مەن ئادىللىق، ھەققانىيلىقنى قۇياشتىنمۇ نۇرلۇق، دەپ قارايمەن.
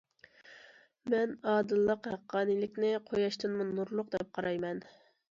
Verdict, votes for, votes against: accepted, 2, 0